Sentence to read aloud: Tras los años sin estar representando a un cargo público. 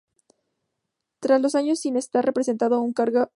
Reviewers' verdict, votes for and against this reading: rejected, 0, 2